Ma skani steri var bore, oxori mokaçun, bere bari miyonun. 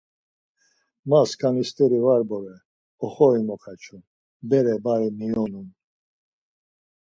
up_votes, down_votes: 4, 0